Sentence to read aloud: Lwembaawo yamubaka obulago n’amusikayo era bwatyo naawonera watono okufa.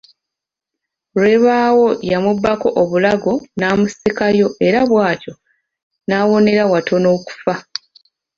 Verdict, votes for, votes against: rejected, 0, 2